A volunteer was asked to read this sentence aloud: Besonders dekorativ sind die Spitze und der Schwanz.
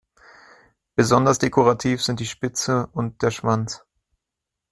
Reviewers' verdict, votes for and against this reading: accepted, 2, 0